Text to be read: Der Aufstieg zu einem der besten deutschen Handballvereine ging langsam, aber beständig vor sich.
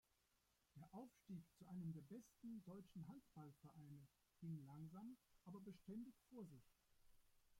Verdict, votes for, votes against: rejected, 0, 2